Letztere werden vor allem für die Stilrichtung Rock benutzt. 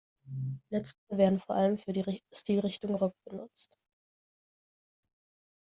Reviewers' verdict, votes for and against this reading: rejected, 0, 2